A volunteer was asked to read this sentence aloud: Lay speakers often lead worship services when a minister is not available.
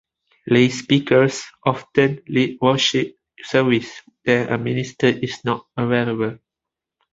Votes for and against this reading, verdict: 1, 2, rejected